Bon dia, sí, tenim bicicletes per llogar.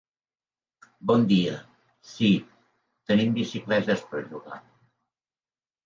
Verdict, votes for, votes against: accepted, 2, 0